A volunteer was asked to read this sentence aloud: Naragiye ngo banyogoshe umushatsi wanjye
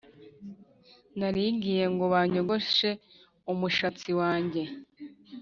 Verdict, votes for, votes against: rejected, 1, 2